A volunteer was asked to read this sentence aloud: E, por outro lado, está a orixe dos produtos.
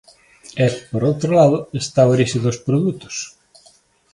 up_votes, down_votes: 2, 0